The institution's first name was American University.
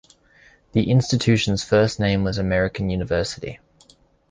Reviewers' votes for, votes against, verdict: 2, 0, accepted